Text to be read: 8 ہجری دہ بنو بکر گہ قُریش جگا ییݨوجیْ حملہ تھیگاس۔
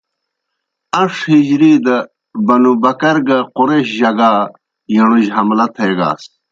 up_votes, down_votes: 0, 2